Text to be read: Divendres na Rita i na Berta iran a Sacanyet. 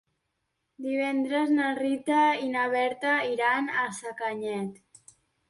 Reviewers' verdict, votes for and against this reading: accepted, 2, 0